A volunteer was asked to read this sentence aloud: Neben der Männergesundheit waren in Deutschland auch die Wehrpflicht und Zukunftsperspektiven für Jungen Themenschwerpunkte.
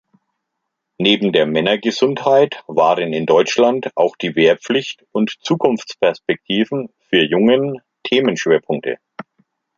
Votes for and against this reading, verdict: 2, 0, accepted